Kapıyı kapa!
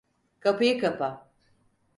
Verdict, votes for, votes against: accepted, 4, 0